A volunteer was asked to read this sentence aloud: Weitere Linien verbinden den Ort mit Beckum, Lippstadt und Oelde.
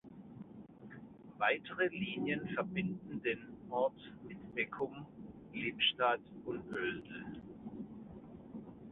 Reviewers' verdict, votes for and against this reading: accepted, 2, 0